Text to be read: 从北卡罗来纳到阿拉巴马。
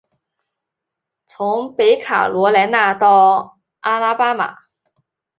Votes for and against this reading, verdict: 2, 0, accepted